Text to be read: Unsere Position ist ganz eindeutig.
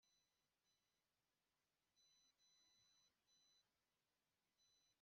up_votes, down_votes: 0, 2